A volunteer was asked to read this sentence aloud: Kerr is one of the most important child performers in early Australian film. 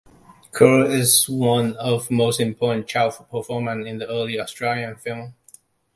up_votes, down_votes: 0, 2